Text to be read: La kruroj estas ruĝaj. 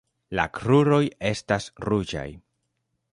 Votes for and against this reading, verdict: 2, 0, accepted